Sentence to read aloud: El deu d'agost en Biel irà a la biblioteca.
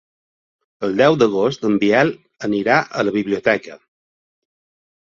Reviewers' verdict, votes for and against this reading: rejected, 1, 2